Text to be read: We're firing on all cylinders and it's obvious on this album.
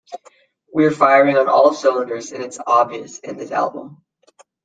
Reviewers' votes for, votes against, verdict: 0, 2, rejected